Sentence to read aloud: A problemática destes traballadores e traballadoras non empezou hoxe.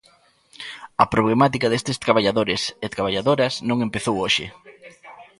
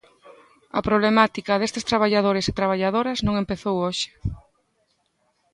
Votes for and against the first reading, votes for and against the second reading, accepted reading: 0, 2, 2, 0, second